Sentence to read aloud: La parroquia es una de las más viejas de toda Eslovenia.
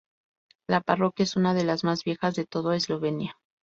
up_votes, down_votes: 0, 2